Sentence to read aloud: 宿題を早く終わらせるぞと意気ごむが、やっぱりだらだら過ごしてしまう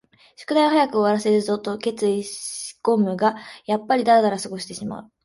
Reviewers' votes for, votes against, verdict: 0, 2, rejected